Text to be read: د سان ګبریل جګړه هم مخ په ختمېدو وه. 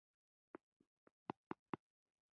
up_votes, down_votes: 2, 1